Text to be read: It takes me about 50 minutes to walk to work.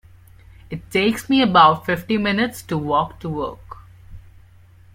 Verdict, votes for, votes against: rejected, 0, 2